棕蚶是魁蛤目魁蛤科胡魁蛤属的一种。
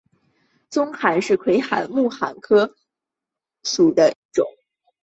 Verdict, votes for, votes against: rejected, 0, 2